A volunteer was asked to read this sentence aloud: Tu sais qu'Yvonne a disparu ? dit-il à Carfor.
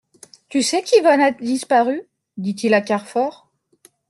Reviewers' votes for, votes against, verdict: 2, 0, accepted